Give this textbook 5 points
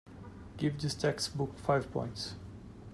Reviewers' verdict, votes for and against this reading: rejected, 0, 2